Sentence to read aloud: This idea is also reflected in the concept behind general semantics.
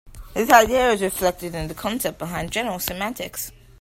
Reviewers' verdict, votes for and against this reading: accepted, 2, 0